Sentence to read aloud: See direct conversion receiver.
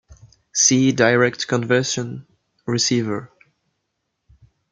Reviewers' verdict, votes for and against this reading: accepted, 3, 0